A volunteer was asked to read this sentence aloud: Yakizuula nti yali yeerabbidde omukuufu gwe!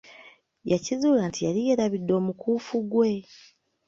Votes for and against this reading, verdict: 2, 0, accepted